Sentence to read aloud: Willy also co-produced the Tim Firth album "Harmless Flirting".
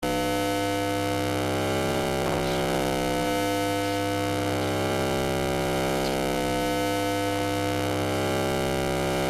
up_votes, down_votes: 0, 2